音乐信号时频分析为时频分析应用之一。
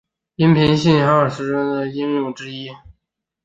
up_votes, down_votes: 0, 3